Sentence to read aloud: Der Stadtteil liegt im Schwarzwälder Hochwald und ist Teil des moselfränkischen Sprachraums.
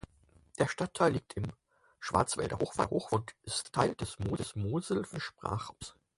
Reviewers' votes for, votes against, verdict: 0, 4, rejected